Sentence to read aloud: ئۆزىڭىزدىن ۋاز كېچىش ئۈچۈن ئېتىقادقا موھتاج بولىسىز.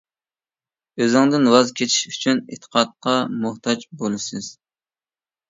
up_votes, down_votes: 0, 2